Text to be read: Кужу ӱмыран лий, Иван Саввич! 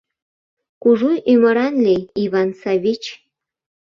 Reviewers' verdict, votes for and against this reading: rejected, 1, 2